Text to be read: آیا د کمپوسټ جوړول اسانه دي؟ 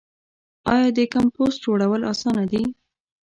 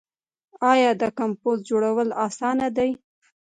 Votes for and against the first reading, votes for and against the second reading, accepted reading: 1, 2, 2, 0, second